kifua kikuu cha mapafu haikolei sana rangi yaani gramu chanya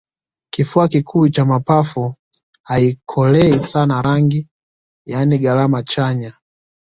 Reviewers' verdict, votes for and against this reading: rejected, 1, 2